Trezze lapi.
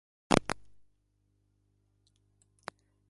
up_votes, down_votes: 0, 2